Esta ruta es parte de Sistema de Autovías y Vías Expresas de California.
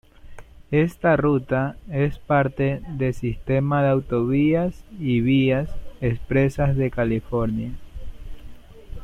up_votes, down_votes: 2, 0